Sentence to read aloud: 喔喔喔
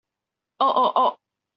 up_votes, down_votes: 2, 0